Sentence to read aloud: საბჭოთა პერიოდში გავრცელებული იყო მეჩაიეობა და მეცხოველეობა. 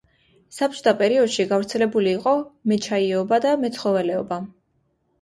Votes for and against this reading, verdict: 2, 1, accepted